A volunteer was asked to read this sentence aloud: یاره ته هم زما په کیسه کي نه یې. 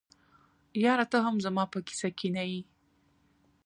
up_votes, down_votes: 2, 1